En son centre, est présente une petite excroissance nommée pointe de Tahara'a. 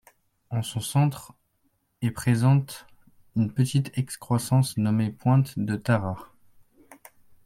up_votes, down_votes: 2, 1